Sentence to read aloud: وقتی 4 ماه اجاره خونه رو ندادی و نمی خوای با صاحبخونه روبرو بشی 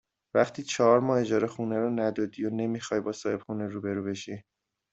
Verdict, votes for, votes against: rejected, 0, 2